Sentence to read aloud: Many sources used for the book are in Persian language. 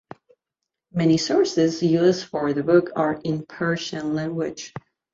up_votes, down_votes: 2, 0